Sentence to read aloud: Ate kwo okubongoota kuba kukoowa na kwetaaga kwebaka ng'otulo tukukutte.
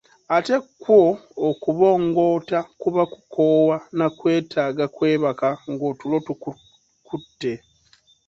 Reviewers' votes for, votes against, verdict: 2, 0, accepted